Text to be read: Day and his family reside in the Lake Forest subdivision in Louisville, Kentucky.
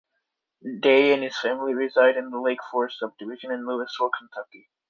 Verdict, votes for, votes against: accepted, 2, 0